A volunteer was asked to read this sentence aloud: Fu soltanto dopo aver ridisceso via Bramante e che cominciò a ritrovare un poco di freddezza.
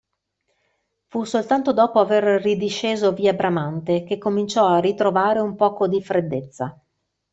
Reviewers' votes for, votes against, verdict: 1, 2, rejected